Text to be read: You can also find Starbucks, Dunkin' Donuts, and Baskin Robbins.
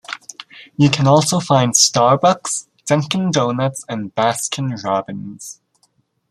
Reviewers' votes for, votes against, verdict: 2, 0, accepted